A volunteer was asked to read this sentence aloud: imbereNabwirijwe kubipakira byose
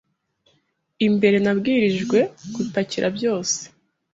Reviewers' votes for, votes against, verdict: 0, 2, rejected